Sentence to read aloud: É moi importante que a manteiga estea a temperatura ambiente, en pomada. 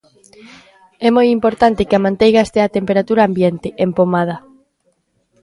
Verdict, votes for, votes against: rejected, 0, 2